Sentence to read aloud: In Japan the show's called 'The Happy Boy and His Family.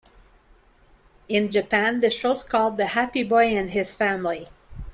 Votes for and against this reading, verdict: 2, 0, accepted